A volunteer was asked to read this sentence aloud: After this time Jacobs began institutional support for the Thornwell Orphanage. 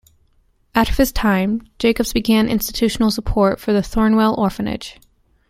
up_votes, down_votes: 2, 1